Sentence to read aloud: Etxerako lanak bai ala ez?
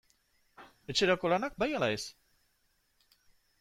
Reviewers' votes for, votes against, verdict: 2, 0, accepted